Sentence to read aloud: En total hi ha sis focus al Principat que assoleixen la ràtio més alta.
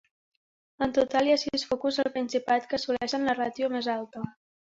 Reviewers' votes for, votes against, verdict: 3, 1, accepted